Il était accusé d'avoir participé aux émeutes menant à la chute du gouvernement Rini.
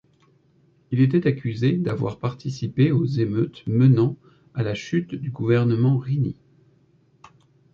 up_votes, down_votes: 2, 0